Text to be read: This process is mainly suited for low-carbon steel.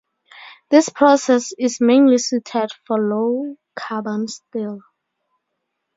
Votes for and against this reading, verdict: 2, 2, rejected